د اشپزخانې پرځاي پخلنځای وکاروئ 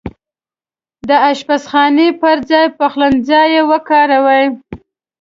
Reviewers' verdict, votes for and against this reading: accepted, 2, 0